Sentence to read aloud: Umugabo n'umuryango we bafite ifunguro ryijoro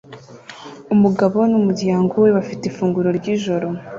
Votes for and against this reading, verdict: 2, 0, accepted